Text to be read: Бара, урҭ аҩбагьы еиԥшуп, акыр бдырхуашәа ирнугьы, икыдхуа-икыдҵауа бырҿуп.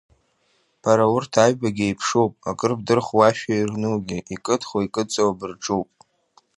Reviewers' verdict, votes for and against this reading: accepted, 2, 0